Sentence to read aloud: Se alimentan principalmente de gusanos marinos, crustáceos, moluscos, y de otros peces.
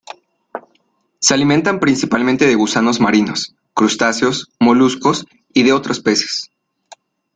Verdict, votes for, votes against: accepted, 2, 0